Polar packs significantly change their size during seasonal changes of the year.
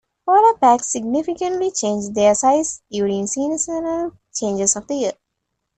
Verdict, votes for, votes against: accepted, 2, 1